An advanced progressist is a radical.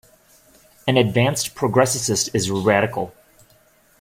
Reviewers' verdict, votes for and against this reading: rejected, 1, 2